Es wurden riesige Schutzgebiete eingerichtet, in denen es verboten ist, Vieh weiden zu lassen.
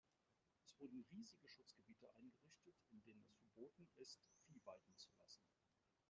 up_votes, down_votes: 1, 2